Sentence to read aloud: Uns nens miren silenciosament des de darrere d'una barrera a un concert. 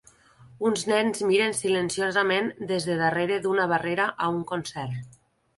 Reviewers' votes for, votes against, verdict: 2, 0, accepted